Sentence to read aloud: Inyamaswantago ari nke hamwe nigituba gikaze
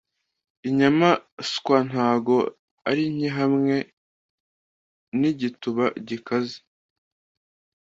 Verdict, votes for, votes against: accepted, 2, 0